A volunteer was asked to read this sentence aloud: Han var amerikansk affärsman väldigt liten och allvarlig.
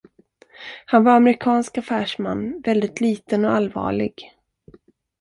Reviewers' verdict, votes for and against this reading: rejected, 0, 2